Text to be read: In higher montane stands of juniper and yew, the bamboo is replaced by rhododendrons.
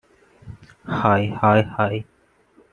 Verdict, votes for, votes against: rejected, 0, 2